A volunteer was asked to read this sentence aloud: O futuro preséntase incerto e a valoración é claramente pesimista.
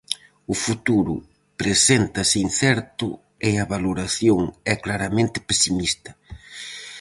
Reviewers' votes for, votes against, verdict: 4, 0, accepted